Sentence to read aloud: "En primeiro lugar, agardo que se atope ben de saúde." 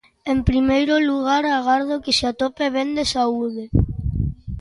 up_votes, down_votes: 2, 0